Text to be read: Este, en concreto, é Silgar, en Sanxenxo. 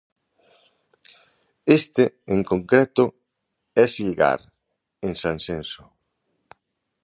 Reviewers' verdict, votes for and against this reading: accepted, 2, 1